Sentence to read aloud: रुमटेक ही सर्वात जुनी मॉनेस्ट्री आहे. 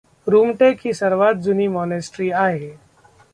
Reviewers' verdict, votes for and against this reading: rejected, 1, 2